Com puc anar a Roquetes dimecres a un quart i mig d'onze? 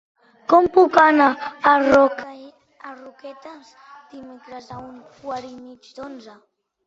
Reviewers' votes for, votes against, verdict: 0, 3, rejected